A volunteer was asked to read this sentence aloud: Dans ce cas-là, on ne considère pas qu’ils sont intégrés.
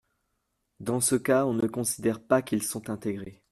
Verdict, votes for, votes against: rejected, 1, 2